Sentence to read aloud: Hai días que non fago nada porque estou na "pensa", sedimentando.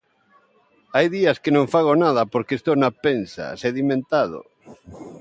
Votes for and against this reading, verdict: 0, 2, rejected